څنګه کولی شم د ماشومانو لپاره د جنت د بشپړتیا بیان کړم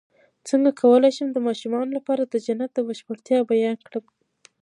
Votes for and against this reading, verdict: 2, 1, accepted